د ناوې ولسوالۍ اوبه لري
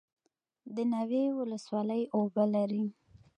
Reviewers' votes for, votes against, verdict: 2, 0, accepted